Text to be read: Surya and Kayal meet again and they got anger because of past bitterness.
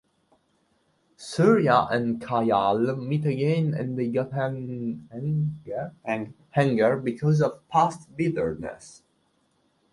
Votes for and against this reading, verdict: 0, 2, rejected